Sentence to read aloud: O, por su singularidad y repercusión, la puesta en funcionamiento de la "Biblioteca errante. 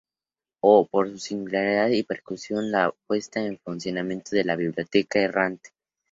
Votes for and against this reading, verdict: 0, 2, rejected